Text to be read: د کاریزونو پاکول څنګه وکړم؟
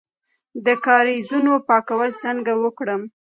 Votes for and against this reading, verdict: 0, 2, rejected